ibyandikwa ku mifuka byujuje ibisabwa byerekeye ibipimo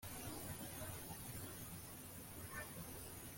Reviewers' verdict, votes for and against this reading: rejected, 0, 2